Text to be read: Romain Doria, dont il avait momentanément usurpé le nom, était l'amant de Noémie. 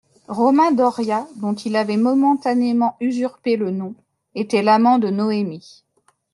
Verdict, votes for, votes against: accepted, 2, 0